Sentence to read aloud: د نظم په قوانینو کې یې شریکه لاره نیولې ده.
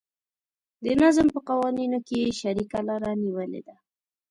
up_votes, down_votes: 2, 0